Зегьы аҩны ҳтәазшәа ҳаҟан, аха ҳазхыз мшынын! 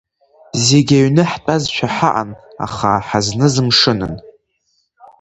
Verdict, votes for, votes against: rejected, 1, 2